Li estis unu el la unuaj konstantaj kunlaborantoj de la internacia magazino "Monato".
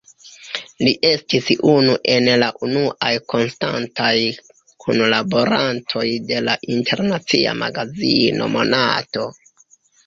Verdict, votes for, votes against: rejected, 0, 2